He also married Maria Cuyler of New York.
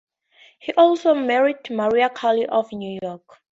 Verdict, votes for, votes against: rejected, 4, 10